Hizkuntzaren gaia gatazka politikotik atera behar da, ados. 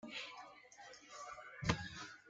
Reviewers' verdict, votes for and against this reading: rejected, 0, 2